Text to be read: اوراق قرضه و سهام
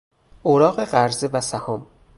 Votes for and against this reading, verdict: 0, 2, rejected